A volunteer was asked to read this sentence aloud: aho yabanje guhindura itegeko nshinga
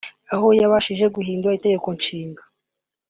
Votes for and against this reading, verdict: 0, 2, rejected